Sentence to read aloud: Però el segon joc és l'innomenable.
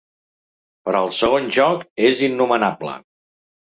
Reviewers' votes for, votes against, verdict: 0, 2, rejected